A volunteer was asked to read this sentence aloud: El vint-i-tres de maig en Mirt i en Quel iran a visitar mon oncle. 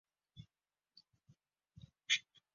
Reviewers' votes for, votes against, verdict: 1, 2, rejected